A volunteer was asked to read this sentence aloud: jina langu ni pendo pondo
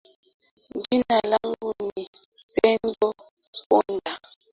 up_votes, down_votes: 0, 2